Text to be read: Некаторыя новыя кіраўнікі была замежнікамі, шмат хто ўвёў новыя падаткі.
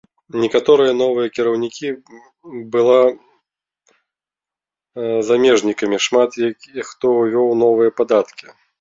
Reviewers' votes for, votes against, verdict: 0, 2, rejected